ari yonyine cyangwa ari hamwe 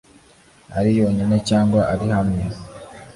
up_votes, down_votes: 2, 0